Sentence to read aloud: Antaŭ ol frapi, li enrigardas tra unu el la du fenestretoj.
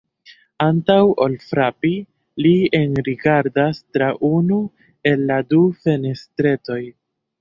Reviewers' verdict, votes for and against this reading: rejected, 1, 2